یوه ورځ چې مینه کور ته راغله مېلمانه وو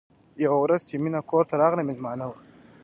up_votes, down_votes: 1, 2